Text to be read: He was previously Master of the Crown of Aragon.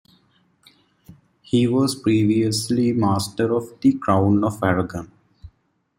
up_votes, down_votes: 2, 0